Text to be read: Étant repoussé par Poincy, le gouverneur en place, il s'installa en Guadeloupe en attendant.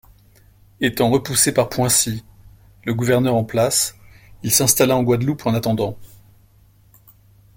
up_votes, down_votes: 2, 0